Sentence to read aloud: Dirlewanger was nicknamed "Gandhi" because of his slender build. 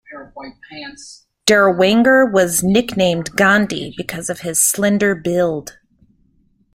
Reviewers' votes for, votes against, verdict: 2, 1, accepted